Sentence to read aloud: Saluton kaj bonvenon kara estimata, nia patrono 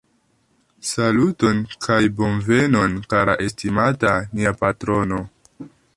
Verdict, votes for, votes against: accepted, 2, 0